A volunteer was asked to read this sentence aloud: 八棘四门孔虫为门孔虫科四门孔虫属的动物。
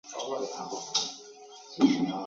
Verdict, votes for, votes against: rejected, 0, 2